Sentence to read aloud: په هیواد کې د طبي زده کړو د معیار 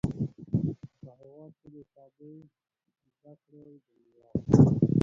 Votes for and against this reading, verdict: 1, 2, rejected